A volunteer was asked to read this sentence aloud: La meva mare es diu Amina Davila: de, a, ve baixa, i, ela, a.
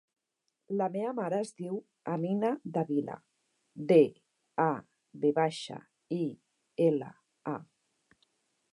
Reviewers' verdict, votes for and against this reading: accepted, 3, 1